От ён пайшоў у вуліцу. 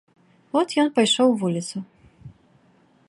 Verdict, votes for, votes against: accepted, 2, 0